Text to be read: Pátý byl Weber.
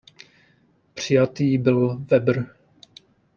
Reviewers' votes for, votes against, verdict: 0, 2, rejected